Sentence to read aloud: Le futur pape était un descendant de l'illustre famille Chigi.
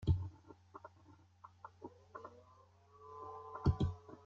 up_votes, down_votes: 0, 2